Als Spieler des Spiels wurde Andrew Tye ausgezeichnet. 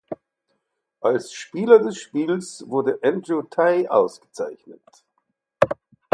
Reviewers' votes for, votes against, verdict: 4, 0, accepted